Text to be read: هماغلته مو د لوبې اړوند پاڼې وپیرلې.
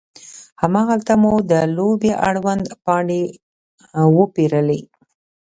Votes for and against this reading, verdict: 2, 0, accepted